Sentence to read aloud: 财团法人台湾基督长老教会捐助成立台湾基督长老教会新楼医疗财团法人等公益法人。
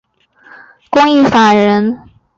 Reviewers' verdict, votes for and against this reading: rejected, 0, 3